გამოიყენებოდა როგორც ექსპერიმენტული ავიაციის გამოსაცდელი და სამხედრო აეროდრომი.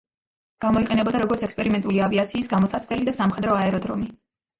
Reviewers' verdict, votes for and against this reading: rejected, 1, 2